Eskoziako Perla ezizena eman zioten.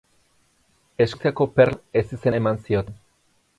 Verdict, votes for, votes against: rejected, 0, 4